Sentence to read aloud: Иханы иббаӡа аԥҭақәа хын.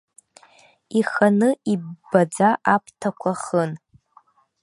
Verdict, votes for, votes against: accepted, 2, 0